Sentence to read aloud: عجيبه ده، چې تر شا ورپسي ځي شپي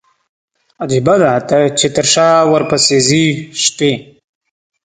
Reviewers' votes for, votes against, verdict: 1, 2, rejected